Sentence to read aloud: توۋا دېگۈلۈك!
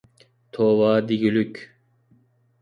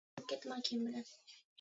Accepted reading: first